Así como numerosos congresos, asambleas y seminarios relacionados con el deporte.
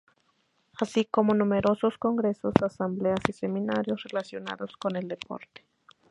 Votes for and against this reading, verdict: 2, 0, accepted